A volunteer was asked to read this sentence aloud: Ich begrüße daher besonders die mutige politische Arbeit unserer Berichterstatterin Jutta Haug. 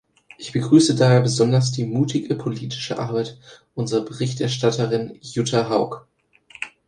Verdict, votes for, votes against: accepted, 3, 0